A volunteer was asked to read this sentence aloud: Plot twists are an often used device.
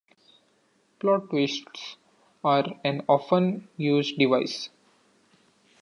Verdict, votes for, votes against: accepted, 2, 0